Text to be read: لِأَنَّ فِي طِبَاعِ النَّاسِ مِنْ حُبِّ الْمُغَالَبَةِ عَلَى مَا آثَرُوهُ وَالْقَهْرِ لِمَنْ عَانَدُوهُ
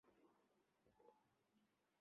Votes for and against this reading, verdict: 0, 2, rejected